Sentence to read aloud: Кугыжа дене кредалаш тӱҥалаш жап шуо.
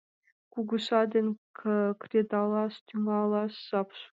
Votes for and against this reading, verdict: 0, 2, rejected